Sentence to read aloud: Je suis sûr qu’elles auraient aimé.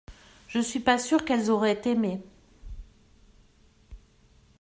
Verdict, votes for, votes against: rejected, 1, 2